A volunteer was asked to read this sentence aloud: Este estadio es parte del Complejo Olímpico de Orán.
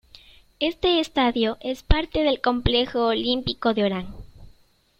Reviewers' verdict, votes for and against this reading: accepted, 2, 0